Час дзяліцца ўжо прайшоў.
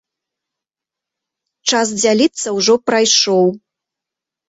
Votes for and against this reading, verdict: 2, 0, accepted